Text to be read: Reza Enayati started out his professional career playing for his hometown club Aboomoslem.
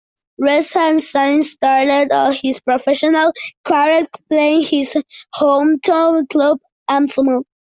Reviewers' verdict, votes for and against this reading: rejected, 0, 2